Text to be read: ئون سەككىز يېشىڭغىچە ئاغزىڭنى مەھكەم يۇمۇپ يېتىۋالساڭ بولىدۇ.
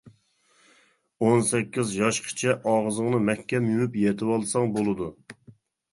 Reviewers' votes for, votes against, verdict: 0, 2, rejected